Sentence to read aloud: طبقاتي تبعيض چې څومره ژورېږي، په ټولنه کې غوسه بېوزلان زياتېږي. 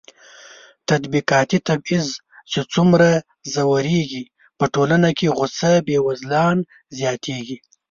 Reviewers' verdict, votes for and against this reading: rejected, 0, 2